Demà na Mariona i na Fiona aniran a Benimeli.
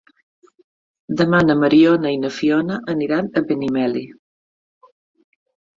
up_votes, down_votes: 5, 0